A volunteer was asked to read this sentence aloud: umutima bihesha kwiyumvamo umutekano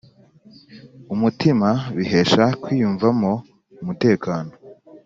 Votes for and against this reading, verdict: 2, 0, accepted